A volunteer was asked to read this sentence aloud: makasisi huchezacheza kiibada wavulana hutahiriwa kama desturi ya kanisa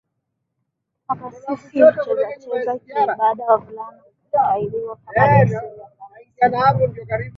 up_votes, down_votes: 0, 2